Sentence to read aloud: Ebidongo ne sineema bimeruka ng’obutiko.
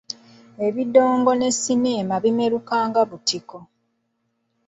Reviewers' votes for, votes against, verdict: 0, 2, rejected